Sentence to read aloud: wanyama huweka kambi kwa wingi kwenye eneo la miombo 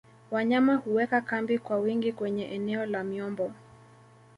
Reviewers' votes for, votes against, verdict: 2, 1, accepted